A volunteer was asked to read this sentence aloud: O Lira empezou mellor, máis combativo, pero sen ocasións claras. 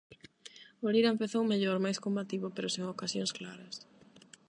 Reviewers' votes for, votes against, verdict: 8, 0, accepted